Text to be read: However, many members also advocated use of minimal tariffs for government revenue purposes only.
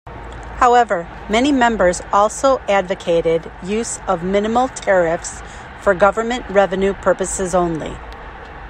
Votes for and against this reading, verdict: 2, 0, accepted